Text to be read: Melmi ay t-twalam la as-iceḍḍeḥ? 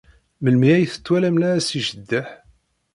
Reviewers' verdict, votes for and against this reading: rejected, 0, 2